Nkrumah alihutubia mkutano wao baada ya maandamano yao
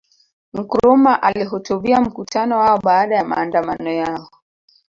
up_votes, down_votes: 4, 0